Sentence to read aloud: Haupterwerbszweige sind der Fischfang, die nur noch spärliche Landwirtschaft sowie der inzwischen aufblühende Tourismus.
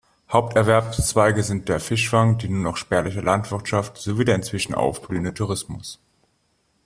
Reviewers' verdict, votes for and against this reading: accepted, 2, 0